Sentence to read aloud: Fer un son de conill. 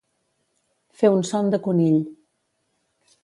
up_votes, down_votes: 3, 0